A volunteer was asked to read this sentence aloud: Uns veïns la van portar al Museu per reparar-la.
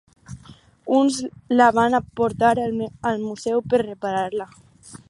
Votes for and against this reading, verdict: 0, 4, rejected